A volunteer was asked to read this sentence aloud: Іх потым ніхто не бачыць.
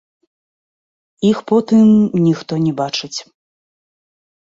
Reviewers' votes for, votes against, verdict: 0, 2, rejected